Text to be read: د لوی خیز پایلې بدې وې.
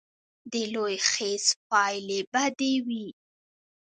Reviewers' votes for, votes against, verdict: 1, 2, rejected